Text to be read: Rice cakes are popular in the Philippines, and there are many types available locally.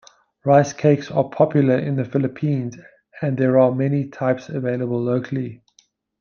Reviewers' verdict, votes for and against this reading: accepted, 2, 0